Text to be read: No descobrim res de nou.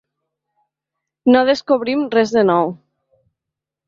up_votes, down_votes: 3, 0